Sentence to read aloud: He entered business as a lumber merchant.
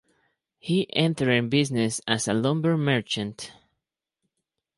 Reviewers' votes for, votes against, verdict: 0, 4, rejected